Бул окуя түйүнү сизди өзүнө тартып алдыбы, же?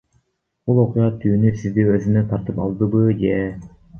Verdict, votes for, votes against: accepted, 2, 1